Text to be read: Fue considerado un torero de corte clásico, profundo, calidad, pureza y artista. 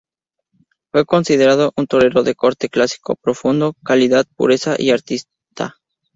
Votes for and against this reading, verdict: 2, 0, accepted